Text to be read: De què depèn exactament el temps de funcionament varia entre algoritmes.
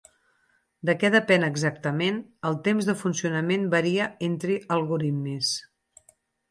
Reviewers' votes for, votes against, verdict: 0, 4, rejected